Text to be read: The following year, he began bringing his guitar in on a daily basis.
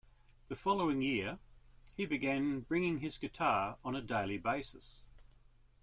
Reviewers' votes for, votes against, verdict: 1, 2, rejected